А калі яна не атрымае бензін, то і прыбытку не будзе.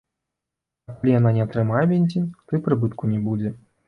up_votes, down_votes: 1, 2